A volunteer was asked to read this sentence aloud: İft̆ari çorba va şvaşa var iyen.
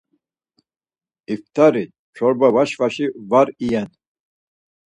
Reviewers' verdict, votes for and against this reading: rejected, 2, 4